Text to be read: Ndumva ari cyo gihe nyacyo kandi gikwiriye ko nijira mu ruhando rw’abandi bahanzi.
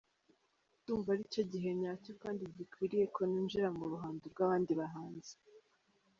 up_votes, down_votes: 3, 0